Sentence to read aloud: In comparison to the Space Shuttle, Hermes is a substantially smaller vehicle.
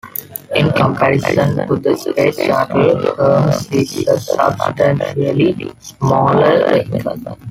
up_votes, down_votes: 0, 2